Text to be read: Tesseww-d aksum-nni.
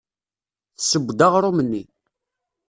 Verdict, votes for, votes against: rejected, 0, 2